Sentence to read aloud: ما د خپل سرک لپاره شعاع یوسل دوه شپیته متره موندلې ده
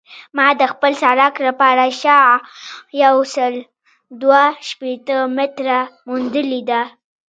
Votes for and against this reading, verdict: 0, 2, rejected